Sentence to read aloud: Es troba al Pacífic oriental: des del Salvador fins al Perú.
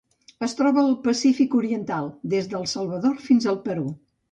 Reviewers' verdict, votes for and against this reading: accepted, 2, 0